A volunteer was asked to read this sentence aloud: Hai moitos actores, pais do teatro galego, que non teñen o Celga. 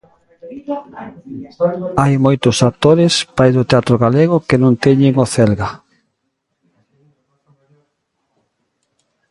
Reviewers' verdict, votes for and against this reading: rejected, 1, 2